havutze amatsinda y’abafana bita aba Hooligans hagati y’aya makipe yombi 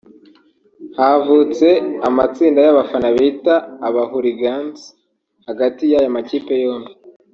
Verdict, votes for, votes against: rejected, 0, 2